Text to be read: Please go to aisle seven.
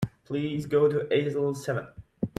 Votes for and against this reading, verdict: 1, 2, rejected